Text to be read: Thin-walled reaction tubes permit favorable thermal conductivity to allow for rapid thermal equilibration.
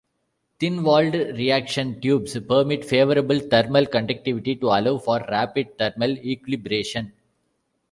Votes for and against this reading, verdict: 2, 1, accepted